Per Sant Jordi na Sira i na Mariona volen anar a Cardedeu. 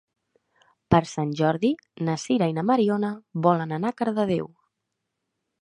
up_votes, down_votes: 2, 0